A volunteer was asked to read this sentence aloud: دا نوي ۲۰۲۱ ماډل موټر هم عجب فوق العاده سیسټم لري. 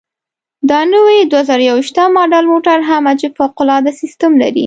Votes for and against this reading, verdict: 0, 2, rejected